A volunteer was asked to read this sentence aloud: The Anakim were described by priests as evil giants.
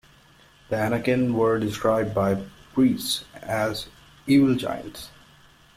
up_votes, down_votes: 2, 0